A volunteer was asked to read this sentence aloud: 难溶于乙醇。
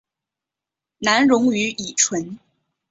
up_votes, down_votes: 2, 0